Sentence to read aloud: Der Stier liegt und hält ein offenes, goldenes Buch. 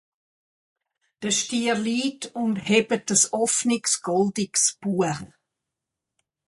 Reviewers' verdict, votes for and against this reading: rejected, 0, 4